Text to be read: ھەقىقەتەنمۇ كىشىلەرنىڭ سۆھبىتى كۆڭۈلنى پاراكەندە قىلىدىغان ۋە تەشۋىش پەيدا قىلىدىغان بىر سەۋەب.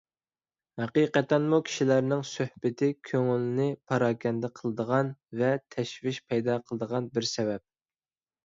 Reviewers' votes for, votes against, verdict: 2, 0, accepted